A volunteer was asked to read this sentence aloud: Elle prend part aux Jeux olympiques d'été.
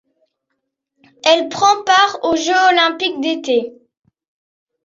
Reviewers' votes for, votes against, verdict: 0, 2, rejected